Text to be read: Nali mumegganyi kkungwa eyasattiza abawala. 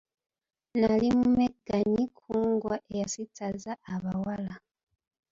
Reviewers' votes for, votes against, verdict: 2, 1, accepted